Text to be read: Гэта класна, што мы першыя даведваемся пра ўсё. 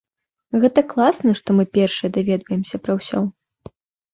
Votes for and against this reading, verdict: 2, 0, accepted